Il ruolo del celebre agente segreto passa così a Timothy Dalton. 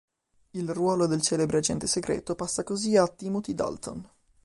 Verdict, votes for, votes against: accepted, 3, 0